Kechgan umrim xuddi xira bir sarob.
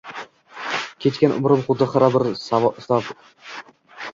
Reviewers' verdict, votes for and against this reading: rejected, 1, 2